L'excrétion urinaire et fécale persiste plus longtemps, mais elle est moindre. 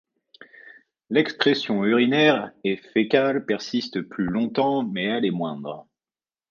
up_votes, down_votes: 2, 0